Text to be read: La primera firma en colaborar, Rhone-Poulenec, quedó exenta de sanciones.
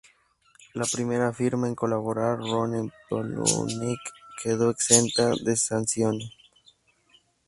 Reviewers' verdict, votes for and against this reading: rejected, 0, 4